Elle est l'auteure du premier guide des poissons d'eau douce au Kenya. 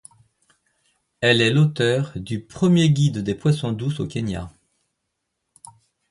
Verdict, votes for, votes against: accepted, 2, 0